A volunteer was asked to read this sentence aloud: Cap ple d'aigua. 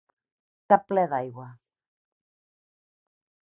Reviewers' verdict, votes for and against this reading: accepted, 4, 0